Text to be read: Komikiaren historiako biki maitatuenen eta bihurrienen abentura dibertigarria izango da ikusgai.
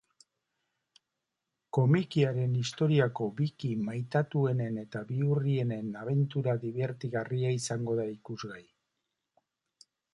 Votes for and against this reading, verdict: 2, 0, accepted